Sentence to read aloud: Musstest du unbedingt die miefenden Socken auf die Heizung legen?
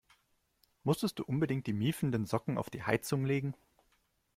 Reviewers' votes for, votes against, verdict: 2, 0, accepted